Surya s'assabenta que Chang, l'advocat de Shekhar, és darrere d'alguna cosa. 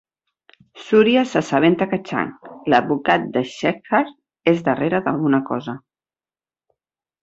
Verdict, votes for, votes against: accepted, 6, 0